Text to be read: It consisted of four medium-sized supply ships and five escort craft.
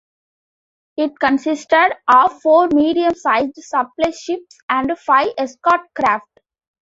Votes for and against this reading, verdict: 2, 1, accepted